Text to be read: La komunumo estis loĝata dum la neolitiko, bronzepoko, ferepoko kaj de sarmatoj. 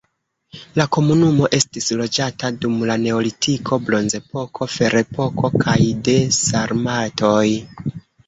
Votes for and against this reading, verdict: 1, 2, rejected